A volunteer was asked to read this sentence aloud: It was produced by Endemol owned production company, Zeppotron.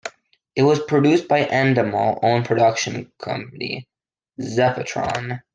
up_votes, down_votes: 2, 0